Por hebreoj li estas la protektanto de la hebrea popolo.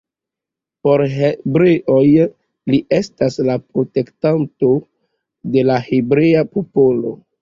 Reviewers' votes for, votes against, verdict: 2, 0, accepted